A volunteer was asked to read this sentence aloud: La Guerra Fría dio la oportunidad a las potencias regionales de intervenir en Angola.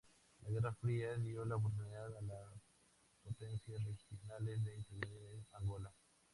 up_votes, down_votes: 0, 6